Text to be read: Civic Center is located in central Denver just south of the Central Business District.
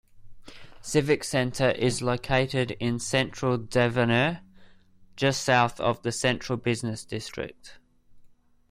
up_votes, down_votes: 0, 2